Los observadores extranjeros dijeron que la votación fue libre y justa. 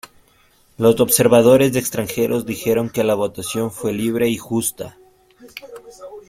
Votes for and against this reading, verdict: 1, 2, rejected